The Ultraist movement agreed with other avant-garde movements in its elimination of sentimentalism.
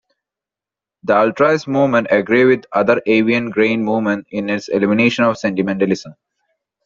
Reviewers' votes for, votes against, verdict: 1, 2, rejected